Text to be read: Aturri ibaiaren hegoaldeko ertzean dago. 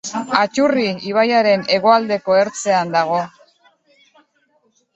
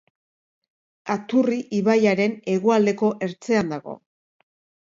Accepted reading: second